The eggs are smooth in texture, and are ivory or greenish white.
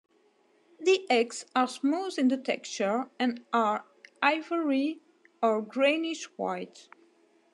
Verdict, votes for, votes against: rejected, 1, 2